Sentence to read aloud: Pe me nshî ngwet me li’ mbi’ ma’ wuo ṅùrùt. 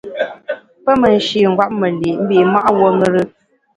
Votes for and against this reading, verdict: 1, 2, rejected